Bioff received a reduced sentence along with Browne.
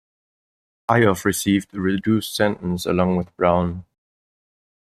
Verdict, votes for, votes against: rejected, 1, 2